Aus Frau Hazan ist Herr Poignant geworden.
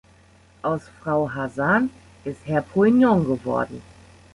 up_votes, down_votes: 2, 1